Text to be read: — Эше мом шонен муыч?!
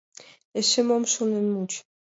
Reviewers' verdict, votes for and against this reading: accepted, 2, 0